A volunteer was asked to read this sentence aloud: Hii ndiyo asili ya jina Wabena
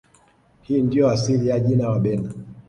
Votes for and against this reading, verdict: 2, 0, accepted